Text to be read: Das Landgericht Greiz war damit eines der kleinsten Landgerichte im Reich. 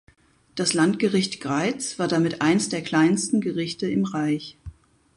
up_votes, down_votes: 0, 4